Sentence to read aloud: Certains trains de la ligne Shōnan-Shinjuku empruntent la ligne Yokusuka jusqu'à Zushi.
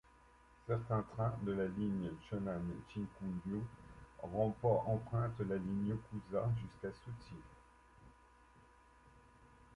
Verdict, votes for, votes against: rejected, 0, 2